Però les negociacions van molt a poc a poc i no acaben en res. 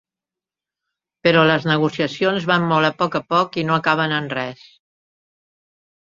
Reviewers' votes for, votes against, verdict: 3, 0, accepted